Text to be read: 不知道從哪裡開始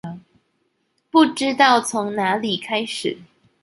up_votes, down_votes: 2, 1